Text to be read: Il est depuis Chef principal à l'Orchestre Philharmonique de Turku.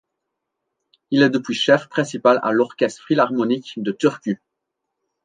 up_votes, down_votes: 2, 0